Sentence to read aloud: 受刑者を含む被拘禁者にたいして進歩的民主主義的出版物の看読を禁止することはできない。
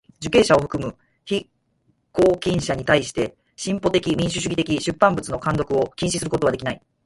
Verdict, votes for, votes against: rejected, 2, 4